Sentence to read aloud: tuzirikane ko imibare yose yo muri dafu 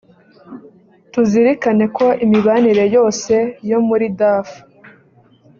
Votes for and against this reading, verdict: 1, 2, rejected